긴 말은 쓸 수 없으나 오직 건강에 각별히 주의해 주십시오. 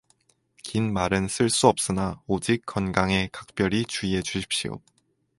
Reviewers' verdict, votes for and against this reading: accepted, 4, 0